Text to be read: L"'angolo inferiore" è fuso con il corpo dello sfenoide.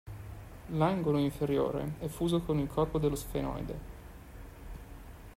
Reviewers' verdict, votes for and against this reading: accepted, 2, 0